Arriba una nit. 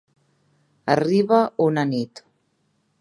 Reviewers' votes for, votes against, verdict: 3, 0, accepted